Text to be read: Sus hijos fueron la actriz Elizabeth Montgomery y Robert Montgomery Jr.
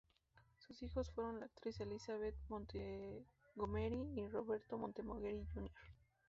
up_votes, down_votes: 0, 2